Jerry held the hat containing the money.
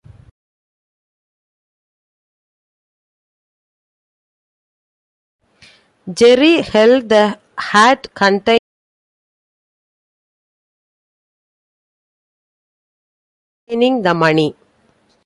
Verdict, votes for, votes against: rejected, 1, 2